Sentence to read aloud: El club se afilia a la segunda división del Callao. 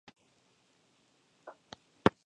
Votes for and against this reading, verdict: 0, 2, rejected